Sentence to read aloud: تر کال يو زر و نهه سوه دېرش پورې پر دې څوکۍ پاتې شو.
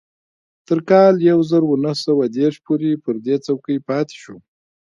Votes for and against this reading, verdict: 1, 2, rejected